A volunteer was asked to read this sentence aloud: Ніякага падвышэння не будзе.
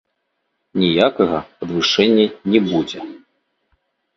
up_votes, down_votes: 1, 2